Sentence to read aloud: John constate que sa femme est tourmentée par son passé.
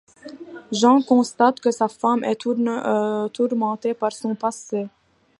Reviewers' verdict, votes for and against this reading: rejected, 0, 2